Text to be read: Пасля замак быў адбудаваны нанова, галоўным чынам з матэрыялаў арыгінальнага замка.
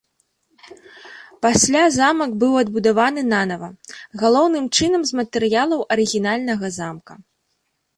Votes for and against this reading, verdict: 0, 2, rejected